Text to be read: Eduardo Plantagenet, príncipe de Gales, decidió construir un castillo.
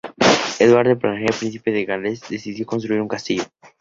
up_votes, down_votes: 0, 2